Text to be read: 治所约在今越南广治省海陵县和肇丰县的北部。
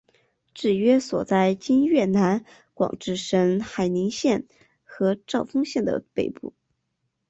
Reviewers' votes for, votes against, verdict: 2, 0, accepted